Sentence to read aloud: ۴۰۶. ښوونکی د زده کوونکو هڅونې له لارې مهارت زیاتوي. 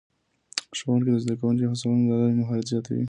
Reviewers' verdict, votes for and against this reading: rejected, 0, 2